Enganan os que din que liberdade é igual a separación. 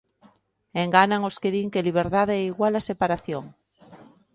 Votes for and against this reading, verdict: 2, 0, accepted